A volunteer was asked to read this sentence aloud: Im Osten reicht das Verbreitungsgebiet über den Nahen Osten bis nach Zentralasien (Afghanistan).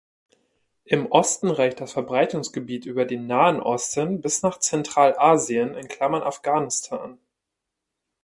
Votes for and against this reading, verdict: 1, 2, rejected